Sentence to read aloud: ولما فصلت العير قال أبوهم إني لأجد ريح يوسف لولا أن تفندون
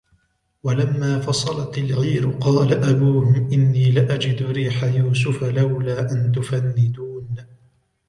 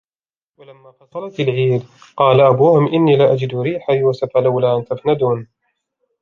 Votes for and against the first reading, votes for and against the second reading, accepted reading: 2, 1, 1, 2, first